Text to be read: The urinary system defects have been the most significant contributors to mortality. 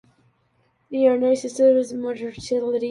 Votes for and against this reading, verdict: 0, 2, rejected